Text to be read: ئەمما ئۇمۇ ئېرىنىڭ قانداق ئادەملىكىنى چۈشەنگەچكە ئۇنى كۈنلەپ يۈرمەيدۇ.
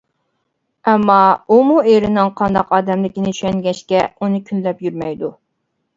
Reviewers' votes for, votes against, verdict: 2, 0, accepted